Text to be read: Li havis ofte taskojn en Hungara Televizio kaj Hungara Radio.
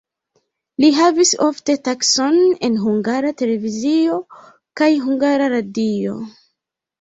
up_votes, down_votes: 0, 2